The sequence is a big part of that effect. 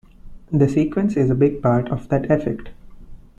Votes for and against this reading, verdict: 1, 2, rejected